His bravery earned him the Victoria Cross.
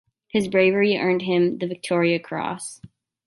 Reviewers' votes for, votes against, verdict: 2, 0, accepted